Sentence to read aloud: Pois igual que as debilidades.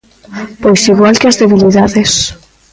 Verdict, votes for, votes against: rejected, 1, 2